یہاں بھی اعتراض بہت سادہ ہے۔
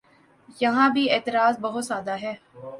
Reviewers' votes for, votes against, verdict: 2, 1, accepted